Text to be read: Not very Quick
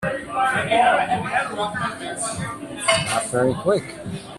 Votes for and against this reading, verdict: 1, 2, rejected